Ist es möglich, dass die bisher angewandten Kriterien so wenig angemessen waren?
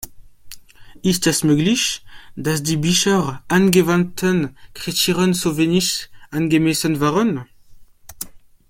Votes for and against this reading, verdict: 1, 2, rejected